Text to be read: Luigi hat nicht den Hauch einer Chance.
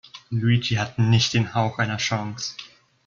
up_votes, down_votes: 2, 0